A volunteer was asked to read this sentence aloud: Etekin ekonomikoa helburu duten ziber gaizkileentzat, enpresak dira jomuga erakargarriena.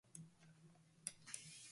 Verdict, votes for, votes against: rejected, 0, 5